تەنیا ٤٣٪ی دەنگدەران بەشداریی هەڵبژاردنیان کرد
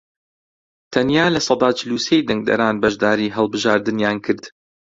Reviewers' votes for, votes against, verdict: 0, 2, rejected